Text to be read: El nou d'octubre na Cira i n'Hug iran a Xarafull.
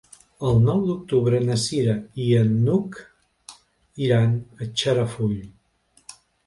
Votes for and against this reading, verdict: 0, 2, rejected